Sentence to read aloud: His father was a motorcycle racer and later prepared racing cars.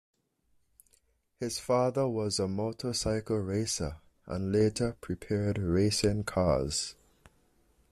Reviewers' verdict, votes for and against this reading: accepted, 2, 0